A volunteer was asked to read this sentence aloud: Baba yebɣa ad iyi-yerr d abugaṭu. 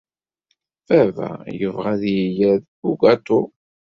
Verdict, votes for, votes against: accepted, 2, 0